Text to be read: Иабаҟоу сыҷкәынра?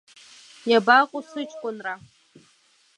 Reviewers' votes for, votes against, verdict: 2, 0, accepted